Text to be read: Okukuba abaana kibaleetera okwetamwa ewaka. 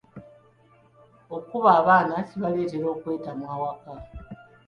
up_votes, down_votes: 0, 2